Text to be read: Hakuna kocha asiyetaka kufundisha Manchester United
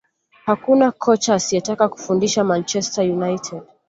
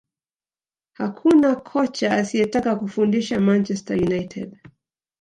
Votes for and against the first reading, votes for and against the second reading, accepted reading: 2, 0, 0, 2, first